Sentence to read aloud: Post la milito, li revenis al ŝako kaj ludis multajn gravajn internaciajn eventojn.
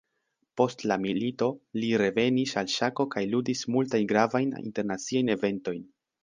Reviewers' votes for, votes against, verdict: 2, 0, accepted